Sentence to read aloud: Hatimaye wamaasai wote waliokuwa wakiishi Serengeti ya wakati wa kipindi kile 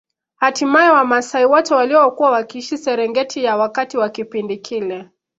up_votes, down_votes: 2, 0